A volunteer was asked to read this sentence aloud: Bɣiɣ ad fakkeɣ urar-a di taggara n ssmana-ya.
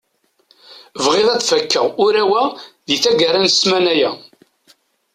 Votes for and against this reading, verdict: 1, 2, rejected